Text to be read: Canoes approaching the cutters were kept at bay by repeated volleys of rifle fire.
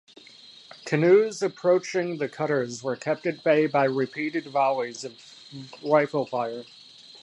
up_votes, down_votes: 1, 2